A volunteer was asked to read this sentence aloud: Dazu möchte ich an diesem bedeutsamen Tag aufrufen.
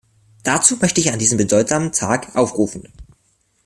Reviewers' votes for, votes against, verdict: 2, 0, accepted